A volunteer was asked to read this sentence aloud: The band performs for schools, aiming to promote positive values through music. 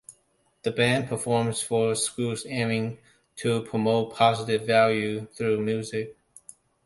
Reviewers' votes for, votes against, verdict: 1, 2, rejected